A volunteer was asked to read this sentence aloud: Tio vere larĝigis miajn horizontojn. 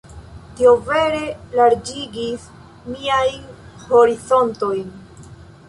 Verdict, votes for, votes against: accepted, 3, 0